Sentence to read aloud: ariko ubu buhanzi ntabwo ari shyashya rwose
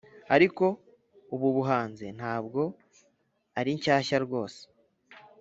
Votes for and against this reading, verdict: 1, 2, rejected